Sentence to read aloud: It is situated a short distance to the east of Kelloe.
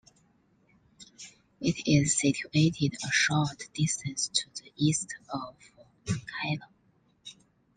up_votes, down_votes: 2, 1